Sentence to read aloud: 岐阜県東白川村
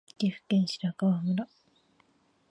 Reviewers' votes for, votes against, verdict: 0, 2, rejected